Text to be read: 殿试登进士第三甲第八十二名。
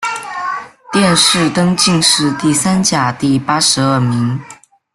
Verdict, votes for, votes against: accepted, 2, 0